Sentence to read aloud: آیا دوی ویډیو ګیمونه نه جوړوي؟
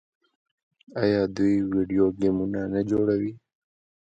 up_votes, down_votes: 2, 0